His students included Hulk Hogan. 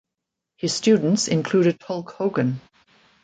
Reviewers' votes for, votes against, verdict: 2, 0, accepted